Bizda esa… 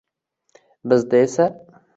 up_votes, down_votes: 2, 0